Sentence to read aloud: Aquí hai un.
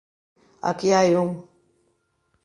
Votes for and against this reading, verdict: 1, 2, rejected